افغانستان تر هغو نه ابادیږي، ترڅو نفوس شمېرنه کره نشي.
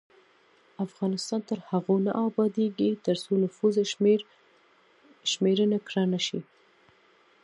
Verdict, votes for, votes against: accepted, 2, 0